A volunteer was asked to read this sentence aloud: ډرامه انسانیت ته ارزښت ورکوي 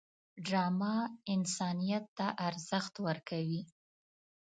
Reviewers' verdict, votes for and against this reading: accepted, 2, 0